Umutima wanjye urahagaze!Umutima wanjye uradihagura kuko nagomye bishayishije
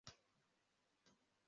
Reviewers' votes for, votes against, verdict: 0, 2, rejected